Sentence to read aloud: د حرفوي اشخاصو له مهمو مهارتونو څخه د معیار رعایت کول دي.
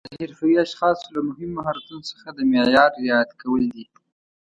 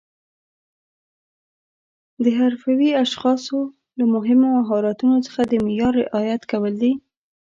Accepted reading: second